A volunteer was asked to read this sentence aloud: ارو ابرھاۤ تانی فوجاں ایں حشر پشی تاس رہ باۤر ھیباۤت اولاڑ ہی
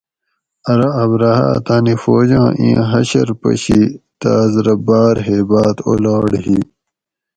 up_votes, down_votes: 4, 0